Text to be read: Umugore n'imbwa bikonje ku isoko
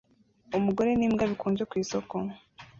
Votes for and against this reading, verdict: 2, 0, accepted